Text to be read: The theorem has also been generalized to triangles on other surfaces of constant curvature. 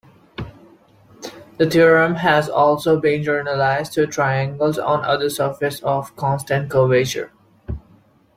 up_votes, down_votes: 2, 1